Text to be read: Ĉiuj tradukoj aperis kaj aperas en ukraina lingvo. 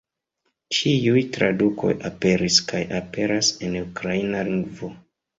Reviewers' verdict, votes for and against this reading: accepted, 2, 1